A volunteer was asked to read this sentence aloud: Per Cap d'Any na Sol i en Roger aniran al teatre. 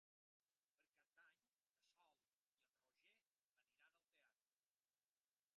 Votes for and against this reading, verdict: 0, 2, rejected